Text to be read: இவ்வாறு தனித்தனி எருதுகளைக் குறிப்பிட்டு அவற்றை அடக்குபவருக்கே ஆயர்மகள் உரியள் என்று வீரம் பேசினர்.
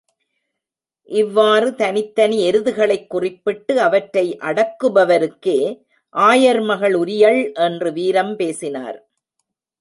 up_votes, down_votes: 0, 2